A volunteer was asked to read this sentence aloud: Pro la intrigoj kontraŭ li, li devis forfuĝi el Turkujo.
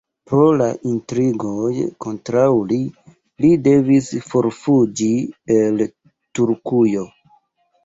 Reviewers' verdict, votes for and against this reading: rejected, 1, 2